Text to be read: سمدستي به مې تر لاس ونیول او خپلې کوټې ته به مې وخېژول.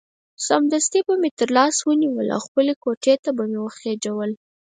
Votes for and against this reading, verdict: 2, 4, rejected